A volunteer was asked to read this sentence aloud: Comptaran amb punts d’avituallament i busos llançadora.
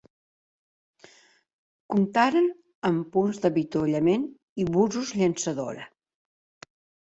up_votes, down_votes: 1, 2